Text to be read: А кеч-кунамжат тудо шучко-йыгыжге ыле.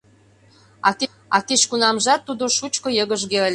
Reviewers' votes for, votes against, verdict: 0, 2, rejected